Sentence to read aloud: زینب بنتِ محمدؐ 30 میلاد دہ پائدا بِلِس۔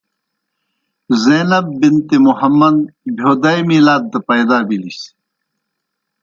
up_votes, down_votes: 0, 2